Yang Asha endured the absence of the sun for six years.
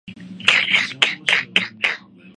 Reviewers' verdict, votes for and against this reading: rejected, 0, 2